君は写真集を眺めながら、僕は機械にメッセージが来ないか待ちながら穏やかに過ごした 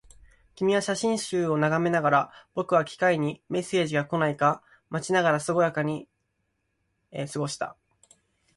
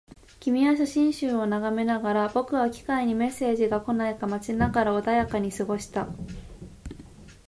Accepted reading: second